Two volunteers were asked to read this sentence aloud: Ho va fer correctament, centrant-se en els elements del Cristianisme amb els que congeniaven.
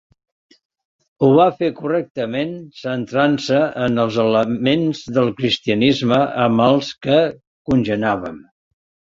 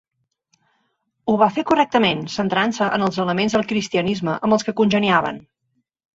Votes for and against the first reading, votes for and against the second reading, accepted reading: 0, 2, 3, 1, second